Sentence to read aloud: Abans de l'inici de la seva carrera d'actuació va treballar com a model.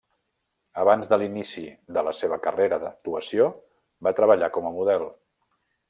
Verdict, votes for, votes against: rejected, 1, 2